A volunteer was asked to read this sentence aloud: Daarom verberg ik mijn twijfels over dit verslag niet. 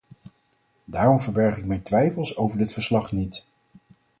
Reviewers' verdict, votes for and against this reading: accepted, 4, 0